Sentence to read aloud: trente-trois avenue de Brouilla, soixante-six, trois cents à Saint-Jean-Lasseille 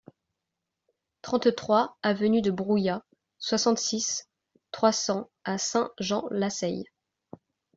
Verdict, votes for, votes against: accepted, 2, 0